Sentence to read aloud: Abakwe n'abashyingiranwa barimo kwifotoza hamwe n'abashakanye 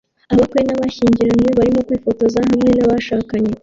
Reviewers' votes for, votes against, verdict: 0, 2, rejected